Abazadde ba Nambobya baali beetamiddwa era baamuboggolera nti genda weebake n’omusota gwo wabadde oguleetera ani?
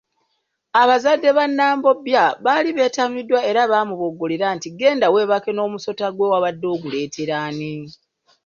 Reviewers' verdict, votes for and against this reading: accepted, 2, 0